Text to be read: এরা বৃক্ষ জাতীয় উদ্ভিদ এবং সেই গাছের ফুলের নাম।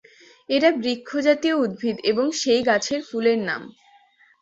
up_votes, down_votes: 2, 0